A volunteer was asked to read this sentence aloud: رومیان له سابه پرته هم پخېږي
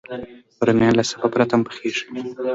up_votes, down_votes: 2, 0